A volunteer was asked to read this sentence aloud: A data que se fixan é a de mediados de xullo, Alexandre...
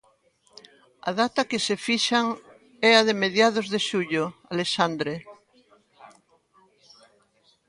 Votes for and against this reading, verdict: 1, 2, rejected